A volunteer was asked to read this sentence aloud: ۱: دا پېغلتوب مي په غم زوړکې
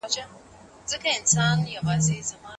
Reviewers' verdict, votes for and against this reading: rejected, 0, 2